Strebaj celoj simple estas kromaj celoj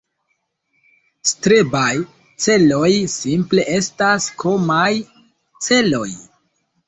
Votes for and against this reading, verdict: 1, 2, rejected